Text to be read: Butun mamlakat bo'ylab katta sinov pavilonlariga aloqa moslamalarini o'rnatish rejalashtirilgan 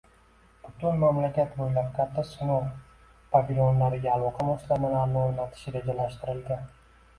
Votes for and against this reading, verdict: 1, 2, rejected